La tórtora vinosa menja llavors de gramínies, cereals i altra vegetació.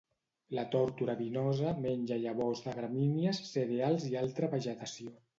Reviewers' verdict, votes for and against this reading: accepted, 2, 0